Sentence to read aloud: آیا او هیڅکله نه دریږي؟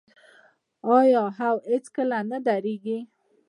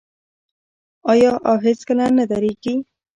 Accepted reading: first